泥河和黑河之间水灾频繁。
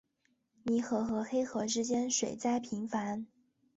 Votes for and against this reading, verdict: 2, 0, accepted